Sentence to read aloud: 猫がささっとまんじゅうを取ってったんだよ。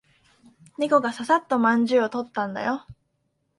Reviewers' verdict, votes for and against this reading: rejected, 1, 2